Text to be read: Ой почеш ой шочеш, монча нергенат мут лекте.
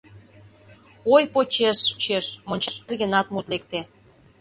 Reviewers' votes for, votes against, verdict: 0, 2, rejected